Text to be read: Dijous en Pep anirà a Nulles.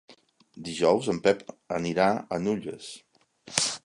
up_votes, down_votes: 0, 2